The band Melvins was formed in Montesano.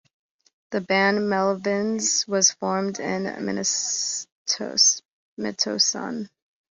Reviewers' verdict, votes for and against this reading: rejected, 0, 2